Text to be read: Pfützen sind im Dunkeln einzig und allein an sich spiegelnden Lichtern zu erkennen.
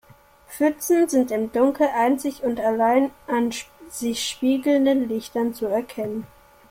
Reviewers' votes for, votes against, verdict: 1, 2, rejected